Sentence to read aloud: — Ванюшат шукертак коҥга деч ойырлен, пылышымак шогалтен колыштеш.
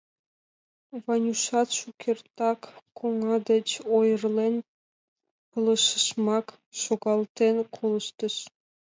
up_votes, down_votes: 0, 2